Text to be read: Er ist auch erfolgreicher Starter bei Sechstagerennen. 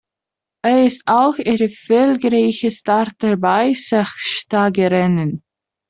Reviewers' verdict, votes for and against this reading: rejected, 0, 2